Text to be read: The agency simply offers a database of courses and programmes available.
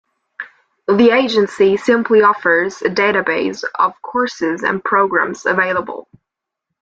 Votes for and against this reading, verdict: 2, 0, accepted